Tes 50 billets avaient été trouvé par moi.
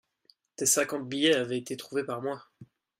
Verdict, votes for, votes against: rejected, 0, 2